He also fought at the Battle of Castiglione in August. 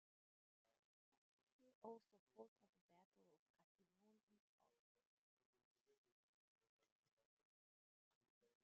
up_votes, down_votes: 0, 2